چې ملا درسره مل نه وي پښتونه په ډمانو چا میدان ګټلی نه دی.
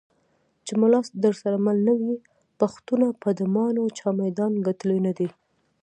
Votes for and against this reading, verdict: 0, 2, rejected